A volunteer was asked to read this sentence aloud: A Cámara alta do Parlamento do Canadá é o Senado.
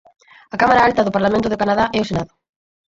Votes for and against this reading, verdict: 0, 4, rejected